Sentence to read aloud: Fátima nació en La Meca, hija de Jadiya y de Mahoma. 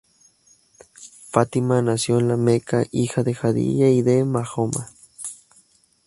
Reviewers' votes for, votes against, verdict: 2, 2, rejected